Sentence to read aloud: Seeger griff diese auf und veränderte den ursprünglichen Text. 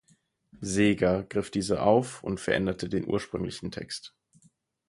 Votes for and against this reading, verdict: 4, 0, accepted